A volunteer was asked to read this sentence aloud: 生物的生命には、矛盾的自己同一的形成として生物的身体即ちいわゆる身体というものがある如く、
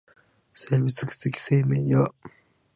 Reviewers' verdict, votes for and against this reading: rejected, 0, 2